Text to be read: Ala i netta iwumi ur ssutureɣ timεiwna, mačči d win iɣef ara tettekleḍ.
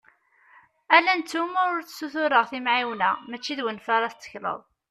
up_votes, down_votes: 2, 1